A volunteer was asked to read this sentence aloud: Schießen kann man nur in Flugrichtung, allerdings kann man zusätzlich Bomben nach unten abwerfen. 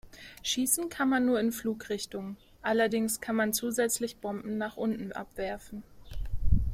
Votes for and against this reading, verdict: 3, 0, accepted